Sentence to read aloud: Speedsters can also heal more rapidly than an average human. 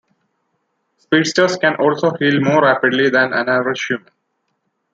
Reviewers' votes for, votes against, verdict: 0, 2, rejected